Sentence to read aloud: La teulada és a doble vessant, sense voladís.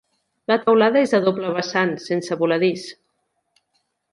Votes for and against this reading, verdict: 2, 0, accepted